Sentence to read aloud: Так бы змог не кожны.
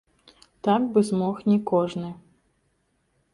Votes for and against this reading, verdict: 2, 0, accepted